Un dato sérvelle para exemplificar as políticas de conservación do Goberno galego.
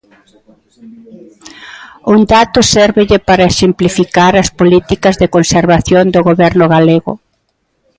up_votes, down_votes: 2, 0